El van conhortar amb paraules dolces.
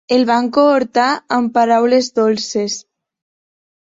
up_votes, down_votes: 0, 2